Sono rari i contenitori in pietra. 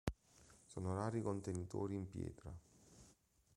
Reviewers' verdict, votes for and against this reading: rejected, 0, 2